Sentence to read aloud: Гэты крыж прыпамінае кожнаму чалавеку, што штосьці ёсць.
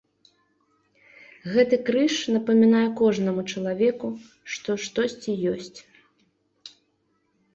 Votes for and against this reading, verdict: 0, 2, rejected